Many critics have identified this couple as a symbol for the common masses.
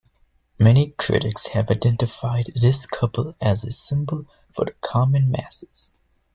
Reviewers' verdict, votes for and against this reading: accepted, 2, 0